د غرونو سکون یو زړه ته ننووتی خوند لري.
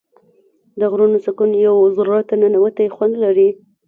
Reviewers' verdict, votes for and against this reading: accepted, 2, 1